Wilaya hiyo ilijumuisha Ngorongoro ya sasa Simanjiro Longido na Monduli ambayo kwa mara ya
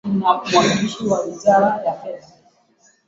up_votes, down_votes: 1, 2